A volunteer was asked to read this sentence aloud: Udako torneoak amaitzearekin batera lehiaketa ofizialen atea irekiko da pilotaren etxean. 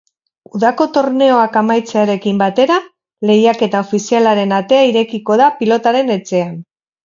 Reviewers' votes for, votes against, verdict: 2, 4, rejected